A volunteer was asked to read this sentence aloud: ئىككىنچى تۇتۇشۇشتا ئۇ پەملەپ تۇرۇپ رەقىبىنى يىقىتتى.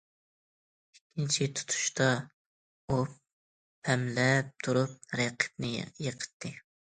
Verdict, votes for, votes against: rejected, 0, 2